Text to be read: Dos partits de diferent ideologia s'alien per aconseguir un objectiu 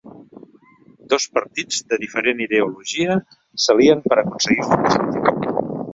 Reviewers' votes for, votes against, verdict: 1, 2, rejected